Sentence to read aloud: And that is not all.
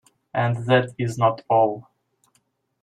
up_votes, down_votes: 2, 1